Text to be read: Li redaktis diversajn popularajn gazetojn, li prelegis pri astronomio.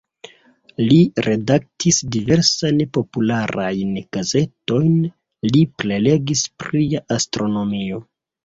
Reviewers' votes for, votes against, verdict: 1, 2, rejected